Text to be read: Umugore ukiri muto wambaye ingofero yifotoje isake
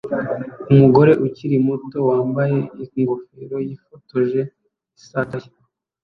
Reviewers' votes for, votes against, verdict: 1, 2, rejected